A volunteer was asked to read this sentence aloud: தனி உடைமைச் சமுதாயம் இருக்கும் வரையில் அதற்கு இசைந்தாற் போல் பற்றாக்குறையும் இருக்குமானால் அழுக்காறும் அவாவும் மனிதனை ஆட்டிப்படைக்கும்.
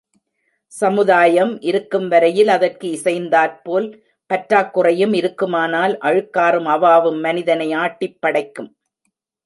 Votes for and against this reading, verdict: 0, 2, rejected